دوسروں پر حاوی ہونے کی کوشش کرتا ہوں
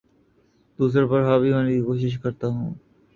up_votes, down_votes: 0, 2